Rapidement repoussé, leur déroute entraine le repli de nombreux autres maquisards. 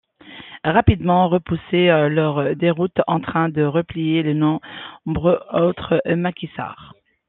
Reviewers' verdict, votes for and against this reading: rejected, 0, 2